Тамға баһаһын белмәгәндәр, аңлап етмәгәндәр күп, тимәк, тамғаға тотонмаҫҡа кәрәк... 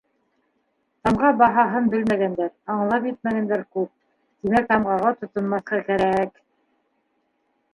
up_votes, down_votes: 2, 1